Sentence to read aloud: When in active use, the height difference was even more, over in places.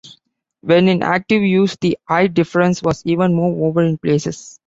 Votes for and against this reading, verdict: 2, 0, accepted